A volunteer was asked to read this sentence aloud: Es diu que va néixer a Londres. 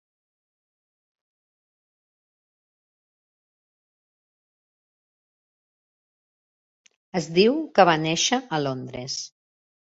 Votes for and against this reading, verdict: 0, 2, rejected